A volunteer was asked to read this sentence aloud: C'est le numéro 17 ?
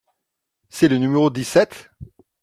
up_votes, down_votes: 0, 2